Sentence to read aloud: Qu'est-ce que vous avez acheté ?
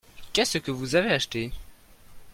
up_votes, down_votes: 2, 0